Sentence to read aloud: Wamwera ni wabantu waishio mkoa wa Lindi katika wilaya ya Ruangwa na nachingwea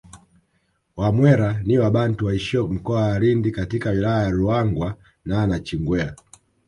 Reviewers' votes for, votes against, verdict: 1, 2, rejected